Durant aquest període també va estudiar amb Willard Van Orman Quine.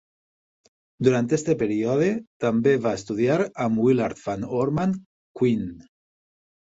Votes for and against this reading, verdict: 1, 2, rejected